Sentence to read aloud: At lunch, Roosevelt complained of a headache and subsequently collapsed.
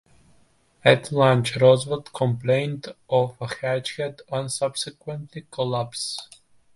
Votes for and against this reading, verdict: 0, 2, rejected